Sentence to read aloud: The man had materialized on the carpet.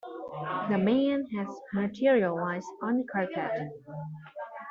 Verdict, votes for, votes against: rejected, 1, 2